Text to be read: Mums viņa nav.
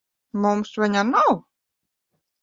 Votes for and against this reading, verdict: 2, 0, accepted